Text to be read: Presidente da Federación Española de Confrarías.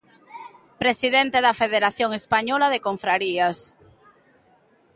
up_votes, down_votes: 2, 0